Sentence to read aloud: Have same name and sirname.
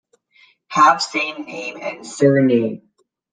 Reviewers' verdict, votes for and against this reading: rejected, 0, 2